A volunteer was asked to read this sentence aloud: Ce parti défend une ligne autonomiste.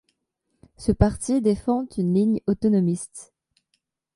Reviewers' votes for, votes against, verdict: 2, 0, accepted